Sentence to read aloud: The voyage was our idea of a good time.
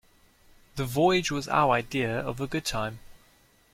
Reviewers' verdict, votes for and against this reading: accepted, 2, 0